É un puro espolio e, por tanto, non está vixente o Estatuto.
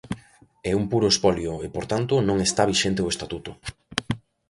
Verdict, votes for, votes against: accepted, 2, 0